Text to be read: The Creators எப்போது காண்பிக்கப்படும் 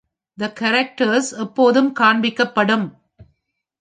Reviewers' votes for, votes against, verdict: 0, 2, rejected